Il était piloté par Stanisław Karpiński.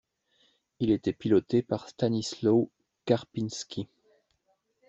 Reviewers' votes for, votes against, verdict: 2, 1, accepted